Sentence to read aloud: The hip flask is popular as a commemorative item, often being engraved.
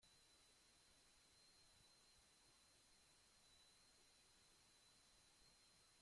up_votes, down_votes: 0, 2